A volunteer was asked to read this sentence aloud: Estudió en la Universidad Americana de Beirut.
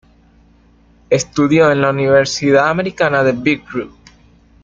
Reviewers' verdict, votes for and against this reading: rejected, 0, 2